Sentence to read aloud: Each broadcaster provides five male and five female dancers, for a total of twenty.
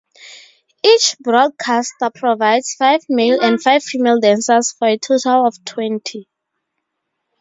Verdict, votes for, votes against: rejected, 4, 4